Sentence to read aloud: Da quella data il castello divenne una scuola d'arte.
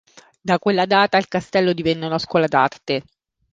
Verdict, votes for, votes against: accepted, 3, 0